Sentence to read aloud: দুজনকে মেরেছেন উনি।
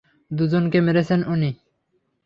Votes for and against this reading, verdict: 3, 0, accepted